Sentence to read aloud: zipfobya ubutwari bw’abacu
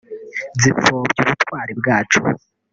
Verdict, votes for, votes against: rejected, 0, 2